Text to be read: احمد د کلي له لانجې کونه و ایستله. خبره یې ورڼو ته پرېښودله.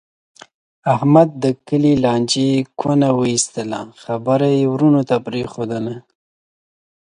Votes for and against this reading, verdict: 2, 0, accepted